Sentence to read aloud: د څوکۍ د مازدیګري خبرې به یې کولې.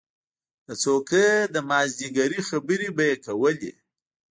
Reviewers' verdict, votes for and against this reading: rejected, 0, 2